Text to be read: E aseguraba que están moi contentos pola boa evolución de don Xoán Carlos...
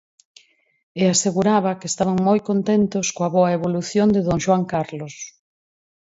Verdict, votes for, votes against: rejected, 2, 4